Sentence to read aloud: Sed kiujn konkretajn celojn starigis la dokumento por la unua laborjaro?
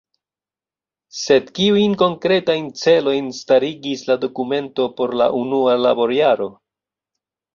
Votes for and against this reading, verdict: 2, 0, accepted